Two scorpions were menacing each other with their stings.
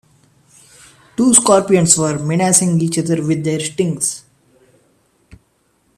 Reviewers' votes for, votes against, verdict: 2, 0, accepted